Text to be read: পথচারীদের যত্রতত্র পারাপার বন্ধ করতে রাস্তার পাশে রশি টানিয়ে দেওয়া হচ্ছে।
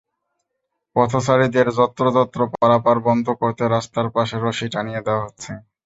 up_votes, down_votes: 2, 0